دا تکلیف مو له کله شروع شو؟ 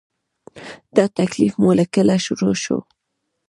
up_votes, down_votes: 2, 0